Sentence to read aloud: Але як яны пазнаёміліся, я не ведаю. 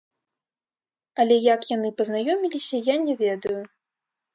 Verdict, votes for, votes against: rejected, 0, 2